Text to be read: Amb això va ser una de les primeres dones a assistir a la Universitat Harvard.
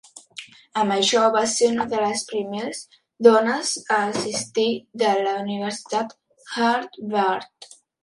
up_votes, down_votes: 0, 3